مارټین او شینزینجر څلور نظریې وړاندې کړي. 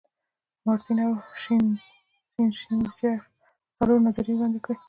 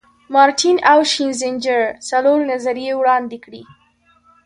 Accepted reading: second